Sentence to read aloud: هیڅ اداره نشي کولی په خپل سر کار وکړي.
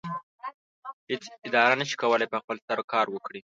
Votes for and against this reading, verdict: 1, 2, rejected